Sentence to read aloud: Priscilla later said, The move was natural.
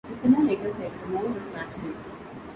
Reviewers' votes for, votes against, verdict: 0, 2, rejected